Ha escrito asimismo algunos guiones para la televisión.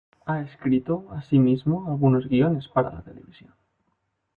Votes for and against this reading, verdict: 2, 0, accepted